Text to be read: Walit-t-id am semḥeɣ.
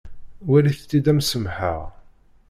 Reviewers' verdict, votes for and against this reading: accepted, 2, 0